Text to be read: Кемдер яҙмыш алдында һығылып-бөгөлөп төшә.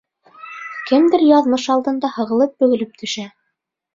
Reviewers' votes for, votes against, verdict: 1, 2, rejected